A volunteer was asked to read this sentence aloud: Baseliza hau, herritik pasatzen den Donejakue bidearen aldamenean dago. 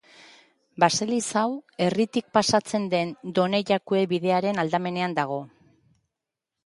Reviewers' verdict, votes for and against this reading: accepted, 2, 0